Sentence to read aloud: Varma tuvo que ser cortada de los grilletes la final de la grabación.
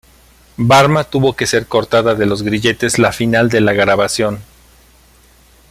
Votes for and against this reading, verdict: 2, 1, accepted